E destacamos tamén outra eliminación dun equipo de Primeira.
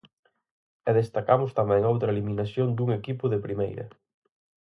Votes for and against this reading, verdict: 4, 0, accepted